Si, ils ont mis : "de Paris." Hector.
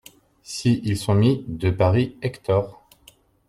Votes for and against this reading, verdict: 0, 2, rejected